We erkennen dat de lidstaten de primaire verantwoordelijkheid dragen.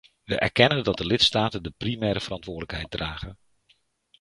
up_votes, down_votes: 2, 0